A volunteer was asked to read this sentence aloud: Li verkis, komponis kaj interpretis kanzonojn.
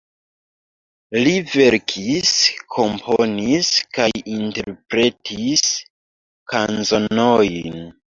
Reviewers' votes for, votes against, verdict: 1, 2, rejected